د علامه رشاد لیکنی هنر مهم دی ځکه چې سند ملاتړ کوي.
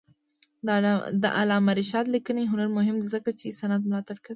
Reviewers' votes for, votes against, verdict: 1, 2, rejected